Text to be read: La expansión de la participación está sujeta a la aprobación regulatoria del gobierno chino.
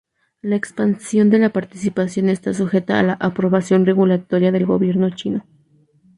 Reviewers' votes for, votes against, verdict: 0, 2, rejected